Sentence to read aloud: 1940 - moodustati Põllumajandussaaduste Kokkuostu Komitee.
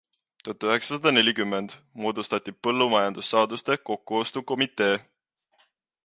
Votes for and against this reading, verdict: 0, 2, rejected